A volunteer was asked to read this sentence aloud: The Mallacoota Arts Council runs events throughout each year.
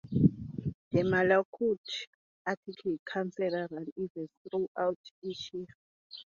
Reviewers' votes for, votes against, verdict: 0, 6, rejected